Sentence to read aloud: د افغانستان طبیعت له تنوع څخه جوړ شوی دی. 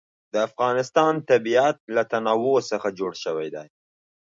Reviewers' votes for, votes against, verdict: 2, 0, accepted